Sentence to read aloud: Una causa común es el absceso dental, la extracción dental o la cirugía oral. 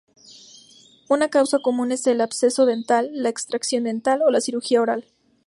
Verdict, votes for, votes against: accepted, 2, 0